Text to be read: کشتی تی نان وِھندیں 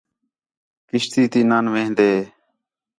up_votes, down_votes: 4, 0